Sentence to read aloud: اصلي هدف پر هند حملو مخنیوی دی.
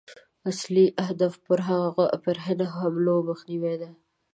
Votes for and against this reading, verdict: 1, 2, rejected